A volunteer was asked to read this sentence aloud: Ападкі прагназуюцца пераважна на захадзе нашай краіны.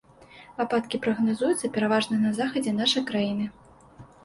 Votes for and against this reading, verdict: 2, 0, accepted